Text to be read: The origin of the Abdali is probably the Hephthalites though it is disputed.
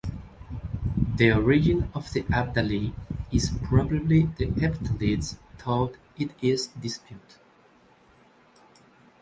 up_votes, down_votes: 2, 0